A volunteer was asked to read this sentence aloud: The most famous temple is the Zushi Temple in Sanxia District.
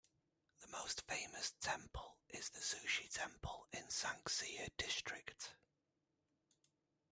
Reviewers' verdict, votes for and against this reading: rejected, 1, 2